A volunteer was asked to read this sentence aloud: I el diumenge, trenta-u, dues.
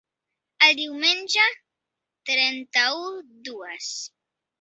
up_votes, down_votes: 0, 2